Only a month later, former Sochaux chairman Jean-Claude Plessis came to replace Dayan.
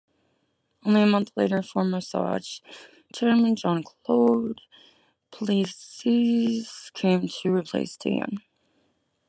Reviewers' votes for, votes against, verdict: 1, 2, rejected